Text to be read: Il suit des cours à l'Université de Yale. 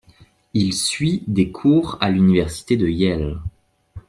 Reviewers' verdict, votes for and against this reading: accepted, 2, 0